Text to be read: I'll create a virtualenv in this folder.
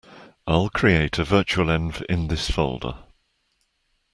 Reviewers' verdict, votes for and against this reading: accepted, 2, 0